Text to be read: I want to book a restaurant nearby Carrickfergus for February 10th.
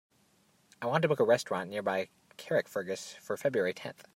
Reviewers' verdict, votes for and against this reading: rejected, 0, 2